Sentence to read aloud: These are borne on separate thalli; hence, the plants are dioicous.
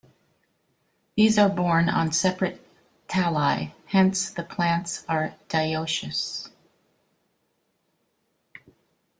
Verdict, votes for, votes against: accepted, 2, 1